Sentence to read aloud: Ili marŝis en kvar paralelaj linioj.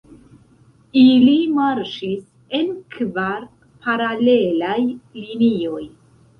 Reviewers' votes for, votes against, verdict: 1, 2, rejected